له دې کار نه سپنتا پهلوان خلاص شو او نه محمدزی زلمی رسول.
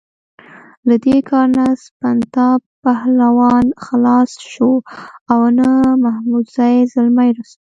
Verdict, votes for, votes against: rejected, 1, 2